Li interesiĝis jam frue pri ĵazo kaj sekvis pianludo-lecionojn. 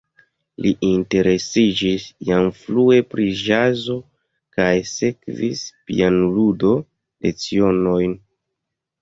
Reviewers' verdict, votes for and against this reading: rejected, 1, 2